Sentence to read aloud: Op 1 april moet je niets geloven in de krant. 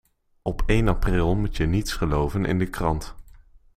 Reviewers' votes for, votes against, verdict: 0, 2, rejected